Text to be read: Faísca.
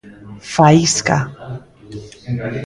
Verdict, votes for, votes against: rejected, 1, 2